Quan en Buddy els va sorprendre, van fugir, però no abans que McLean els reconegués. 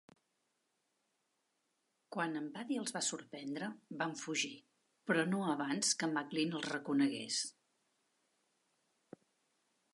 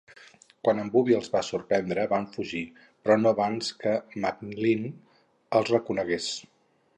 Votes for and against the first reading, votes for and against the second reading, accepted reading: 2, 0, 2, 2, first